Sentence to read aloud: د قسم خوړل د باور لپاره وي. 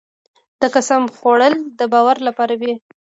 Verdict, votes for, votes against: accepted, 2, 0